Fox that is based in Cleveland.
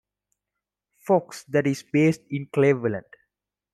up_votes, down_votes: 2, 0